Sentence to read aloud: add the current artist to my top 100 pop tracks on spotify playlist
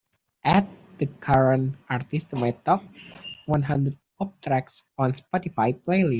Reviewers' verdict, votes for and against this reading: rejected, 0, 2